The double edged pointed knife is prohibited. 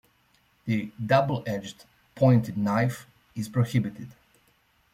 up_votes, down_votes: 2, 0